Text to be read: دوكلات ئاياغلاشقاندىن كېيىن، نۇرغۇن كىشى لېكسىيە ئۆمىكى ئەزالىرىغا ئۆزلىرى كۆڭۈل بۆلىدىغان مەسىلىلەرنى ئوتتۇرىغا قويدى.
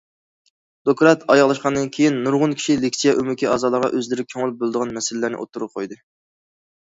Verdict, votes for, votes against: accepted, 2, 0